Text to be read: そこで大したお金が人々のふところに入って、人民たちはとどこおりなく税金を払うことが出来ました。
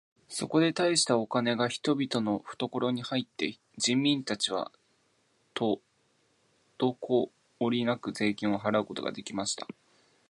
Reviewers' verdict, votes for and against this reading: accepted, 13, 10